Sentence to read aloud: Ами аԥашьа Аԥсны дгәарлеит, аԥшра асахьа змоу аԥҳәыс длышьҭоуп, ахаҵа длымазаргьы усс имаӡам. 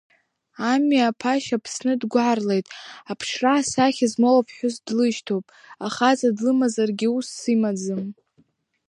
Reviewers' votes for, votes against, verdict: 2, 0, accepted